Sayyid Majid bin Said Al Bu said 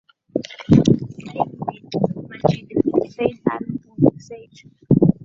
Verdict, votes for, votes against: rejected, 0, 2